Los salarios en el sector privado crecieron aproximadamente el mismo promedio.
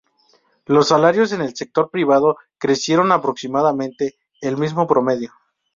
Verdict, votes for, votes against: accepted, 2, 0